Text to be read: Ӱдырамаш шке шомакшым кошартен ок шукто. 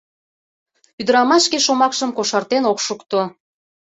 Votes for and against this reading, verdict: 2, 0, accepted